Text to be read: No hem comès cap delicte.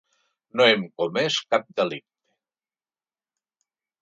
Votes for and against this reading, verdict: 1, 2, rejected